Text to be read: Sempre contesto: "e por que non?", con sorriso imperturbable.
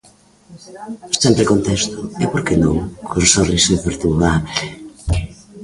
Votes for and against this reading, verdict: 1, 3, rejected